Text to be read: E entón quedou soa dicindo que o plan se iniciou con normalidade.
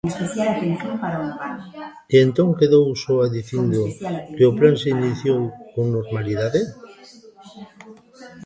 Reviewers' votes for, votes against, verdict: 0, 2, rejected